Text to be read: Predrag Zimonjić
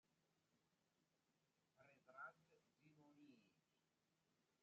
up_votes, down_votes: 0, 2